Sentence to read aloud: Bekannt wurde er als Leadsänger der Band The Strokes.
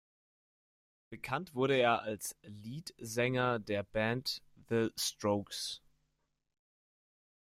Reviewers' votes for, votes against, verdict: 2, 0, accepted